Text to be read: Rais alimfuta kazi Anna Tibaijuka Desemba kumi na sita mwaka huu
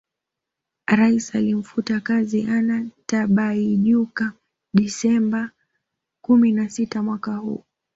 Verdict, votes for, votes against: accepted, 2, 0